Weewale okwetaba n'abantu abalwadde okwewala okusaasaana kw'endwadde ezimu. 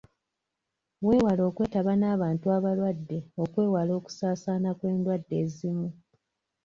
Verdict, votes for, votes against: accepted, 2, 0